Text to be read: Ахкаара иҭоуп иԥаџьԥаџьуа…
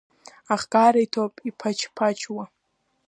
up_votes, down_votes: 1, 2